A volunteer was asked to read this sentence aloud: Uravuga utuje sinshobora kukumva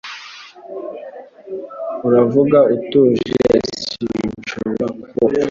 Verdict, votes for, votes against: accepted, 2, 0